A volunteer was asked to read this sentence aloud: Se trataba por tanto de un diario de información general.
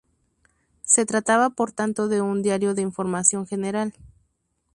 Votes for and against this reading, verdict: 2, 0, accepted